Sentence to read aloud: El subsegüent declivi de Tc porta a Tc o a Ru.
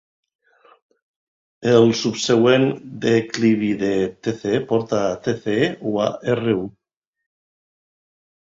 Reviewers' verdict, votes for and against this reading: rejected, 1, 2